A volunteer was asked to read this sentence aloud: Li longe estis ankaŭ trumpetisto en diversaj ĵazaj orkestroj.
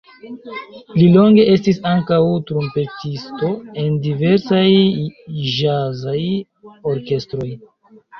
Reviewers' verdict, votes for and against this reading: accepted, 2, 0